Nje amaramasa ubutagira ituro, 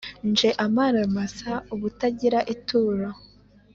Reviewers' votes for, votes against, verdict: 3, 0, accepted